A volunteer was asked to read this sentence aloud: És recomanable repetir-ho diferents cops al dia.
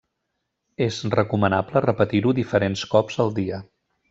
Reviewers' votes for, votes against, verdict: 3, 0, accepted